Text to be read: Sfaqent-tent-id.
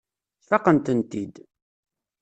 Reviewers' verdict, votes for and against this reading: rejected, 1, 2